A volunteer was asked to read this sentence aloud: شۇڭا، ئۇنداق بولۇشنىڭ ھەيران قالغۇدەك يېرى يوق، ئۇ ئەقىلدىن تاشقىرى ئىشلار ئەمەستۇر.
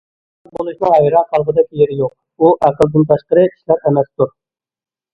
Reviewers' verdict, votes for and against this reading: rejected, 0, 2